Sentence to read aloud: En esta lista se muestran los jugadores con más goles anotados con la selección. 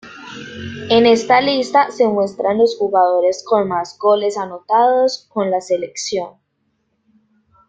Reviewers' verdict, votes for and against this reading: accepted, 2, 0